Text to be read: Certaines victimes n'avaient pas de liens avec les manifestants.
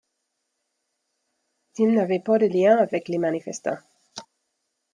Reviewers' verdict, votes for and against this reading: rejected, 0, 2